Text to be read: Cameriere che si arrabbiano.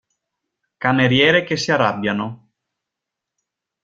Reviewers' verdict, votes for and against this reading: accepted, 2, 1